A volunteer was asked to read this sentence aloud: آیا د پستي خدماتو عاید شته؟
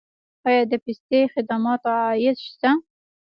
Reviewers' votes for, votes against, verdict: 1, 2, rejected